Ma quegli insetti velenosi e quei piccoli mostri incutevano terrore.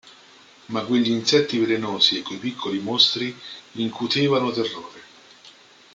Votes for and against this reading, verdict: 2, 0, accepted